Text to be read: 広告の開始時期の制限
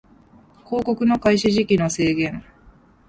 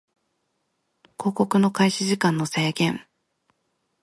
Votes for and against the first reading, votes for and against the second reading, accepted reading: 2, 0, 0, 2, first